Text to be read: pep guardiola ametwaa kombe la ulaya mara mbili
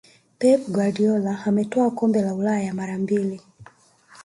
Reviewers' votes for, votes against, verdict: 3, 0, accepted